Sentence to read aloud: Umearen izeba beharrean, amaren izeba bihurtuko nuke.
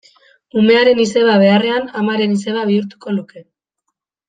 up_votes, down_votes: 1, 2